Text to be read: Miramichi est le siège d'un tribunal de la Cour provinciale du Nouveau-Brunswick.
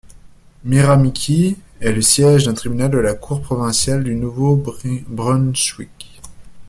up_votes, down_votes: 0, 2